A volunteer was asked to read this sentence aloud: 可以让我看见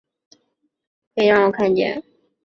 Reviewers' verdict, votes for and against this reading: accepted, 4, 0